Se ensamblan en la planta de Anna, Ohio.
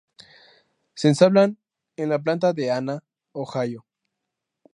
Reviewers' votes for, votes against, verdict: 2, 2, rejected